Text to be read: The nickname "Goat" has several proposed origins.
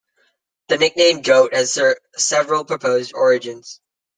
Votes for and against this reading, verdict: 0, 2, rejected